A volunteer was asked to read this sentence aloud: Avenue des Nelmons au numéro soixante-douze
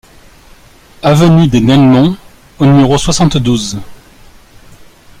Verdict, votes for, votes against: accepted, 2, 0